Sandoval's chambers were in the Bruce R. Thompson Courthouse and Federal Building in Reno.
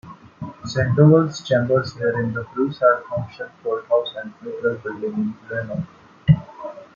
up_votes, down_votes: 2, 1